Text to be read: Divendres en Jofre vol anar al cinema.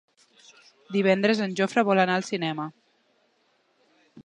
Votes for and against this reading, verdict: 3, 0, accepted